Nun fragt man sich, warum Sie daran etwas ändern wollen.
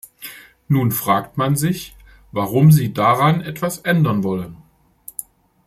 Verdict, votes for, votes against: accepted, 2, 0